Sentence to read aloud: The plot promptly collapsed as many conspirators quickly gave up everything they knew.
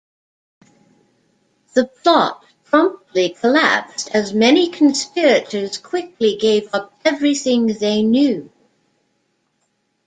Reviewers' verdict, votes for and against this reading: accepted, 2, 0